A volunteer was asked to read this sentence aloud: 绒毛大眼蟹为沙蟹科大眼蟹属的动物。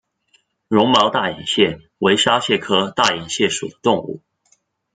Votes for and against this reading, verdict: 1, 2, rejected